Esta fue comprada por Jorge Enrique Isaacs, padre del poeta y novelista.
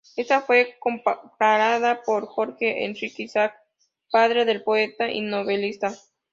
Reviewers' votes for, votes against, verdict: 0, 2, rejected